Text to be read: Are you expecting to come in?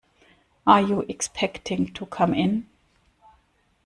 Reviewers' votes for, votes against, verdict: 2, 0, accepted